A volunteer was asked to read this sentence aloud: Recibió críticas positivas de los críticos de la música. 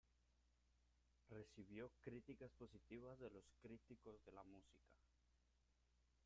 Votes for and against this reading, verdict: 0, 2, rejected